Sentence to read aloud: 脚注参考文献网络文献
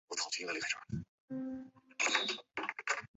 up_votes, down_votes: 0, 4